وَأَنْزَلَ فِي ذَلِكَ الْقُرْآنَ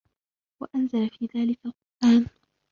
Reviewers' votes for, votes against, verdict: 1, 2, rejected